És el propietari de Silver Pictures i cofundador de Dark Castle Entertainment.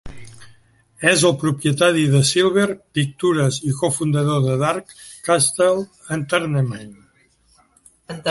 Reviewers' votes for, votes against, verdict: 0, 2, rejected